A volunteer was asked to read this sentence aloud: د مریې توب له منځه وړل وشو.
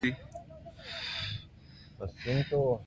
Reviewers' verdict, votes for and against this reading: rejected, 1, 2